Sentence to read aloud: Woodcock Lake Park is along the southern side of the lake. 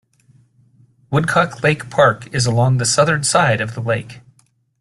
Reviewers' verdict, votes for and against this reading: accepted, 2, 0